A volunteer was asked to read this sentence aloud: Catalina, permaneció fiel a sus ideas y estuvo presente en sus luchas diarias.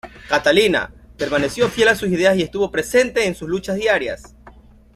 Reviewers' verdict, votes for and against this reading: accepted, 3, 0